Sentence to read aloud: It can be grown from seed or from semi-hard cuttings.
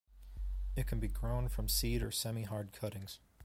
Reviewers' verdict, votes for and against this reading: rejected, 0, 2